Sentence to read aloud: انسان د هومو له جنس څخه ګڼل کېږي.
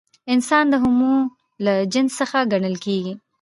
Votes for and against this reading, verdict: 3, 0, accepted